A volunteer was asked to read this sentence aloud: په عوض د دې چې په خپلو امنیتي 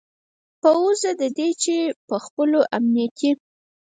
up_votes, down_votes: 2, 4